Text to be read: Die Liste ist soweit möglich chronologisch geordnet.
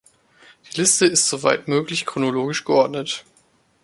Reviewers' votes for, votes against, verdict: 2, 1, accepted